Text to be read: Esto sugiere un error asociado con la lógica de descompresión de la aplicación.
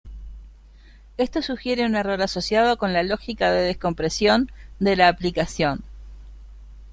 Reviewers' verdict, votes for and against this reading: accepted, 2, 0